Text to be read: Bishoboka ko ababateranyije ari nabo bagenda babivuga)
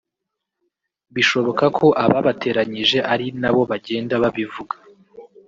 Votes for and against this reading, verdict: 2, 3, rejected